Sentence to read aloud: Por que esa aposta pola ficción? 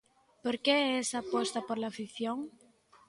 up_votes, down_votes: 2, 1